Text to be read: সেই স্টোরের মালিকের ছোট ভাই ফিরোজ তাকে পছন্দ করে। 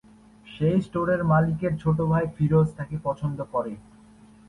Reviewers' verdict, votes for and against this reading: accepted, 9, 2